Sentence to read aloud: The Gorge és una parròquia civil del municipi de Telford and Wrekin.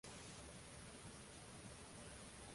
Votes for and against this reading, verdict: 0, 2, rejected